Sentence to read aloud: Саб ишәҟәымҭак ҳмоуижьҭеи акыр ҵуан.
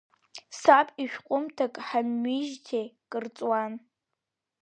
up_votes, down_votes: 1, 2